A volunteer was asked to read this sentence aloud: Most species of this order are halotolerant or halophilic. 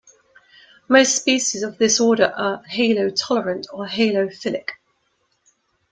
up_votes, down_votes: 2, 0